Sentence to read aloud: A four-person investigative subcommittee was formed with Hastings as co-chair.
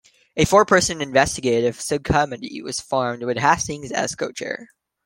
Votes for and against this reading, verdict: 0, 2, rejected